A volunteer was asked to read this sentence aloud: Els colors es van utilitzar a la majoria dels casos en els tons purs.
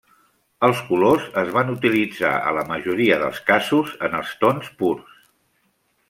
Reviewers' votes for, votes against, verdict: 1, 2, rejected